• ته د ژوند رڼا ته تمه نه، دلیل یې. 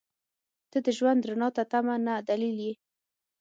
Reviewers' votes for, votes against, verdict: 6, 0, accepted